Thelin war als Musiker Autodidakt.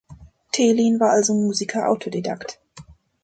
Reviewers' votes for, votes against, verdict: 1, 2, rejected